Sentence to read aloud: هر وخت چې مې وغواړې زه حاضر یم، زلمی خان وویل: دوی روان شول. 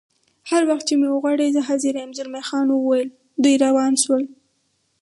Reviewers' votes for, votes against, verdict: 2, 2, rejected